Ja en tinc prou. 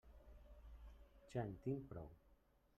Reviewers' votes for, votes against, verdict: 1, 2, rejected